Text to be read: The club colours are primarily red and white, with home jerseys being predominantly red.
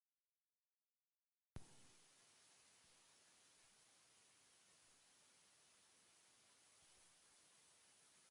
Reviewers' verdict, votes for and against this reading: rejected, 0, 2